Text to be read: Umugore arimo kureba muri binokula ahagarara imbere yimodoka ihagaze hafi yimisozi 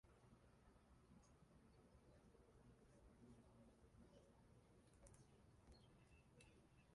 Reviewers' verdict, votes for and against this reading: rejected, 0, 2